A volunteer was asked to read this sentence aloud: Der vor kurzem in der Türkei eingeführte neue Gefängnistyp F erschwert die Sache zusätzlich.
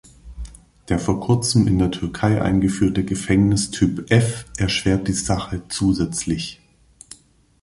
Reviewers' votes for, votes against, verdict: 0, 2, rejected